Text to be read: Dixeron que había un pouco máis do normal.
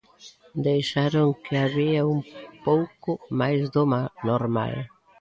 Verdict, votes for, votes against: rejected, 0, 2